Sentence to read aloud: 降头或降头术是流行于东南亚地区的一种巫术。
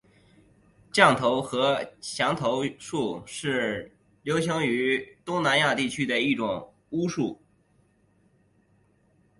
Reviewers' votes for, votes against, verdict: 2, 0, accepted